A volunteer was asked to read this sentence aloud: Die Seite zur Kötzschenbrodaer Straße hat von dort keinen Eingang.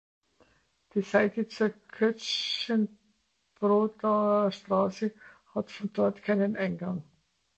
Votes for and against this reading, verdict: 0, 2, rejected